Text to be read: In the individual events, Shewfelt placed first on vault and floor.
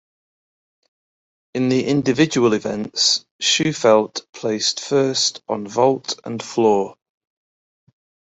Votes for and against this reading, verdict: 2, 0, accepted